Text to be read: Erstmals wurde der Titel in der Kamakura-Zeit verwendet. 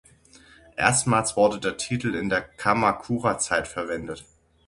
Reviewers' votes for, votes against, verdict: 6, 0, accepted